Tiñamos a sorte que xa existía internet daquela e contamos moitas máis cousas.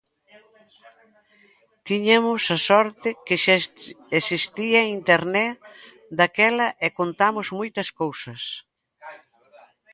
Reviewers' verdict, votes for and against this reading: rejected, 0, 2